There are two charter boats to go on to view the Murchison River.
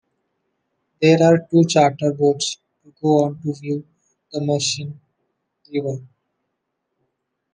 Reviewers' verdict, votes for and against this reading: rejected, 0, 2